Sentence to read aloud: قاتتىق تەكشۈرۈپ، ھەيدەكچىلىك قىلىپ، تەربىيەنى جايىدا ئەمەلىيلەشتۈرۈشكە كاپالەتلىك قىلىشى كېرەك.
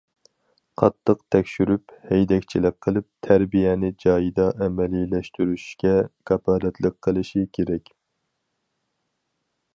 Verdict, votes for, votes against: accepted, 4, 0